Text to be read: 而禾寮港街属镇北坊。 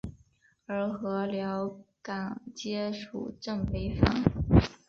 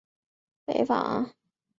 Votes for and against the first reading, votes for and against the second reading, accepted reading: 2, 0, 0, 2, first